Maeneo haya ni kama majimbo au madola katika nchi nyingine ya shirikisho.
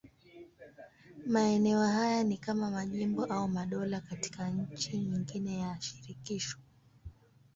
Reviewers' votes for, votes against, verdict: 5, 0, accepted